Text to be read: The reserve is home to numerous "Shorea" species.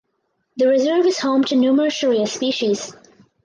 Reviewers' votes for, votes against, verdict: 4, 0, accepted